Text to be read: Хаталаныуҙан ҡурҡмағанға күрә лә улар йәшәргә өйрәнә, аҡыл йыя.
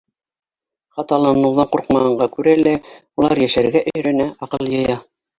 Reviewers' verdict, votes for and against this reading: rejected, 0, 2